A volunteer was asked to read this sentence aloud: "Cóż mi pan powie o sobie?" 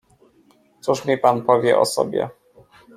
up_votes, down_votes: 2, 1